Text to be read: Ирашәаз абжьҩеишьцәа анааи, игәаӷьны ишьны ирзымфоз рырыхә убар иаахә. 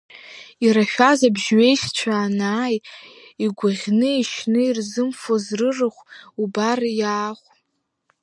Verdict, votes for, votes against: accepted, 2, 0